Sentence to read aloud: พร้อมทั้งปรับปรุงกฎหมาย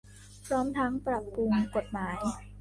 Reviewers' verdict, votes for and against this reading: accepted, 2, 1